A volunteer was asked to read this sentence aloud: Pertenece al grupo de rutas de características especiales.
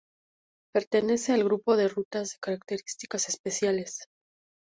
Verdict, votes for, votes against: accepted, 2, 0